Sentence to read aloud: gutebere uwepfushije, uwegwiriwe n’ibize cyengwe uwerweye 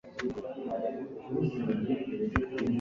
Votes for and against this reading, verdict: 1, 2, rejected